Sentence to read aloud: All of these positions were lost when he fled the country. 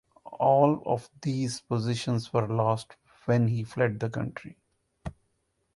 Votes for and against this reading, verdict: 2, 0, accepted